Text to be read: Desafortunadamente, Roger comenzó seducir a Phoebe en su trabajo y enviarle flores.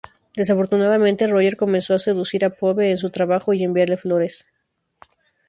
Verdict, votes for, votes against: rejected, 0, 2